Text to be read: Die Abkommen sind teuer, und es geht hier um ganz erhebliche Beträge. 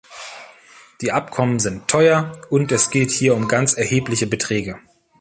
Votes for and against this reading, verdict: 2, 0, accepted